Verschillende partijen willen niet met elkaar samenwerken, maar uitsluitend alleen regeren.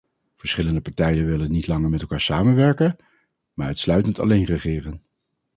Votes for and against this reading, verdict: 0, 2, rejected